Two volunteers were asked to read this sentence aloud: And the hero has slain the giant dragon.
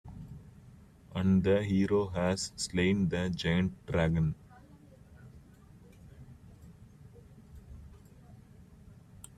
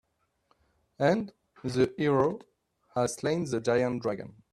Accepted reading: second